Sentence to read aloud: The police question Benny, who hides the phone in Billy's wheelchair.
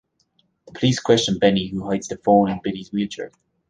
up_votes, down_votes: 0, 2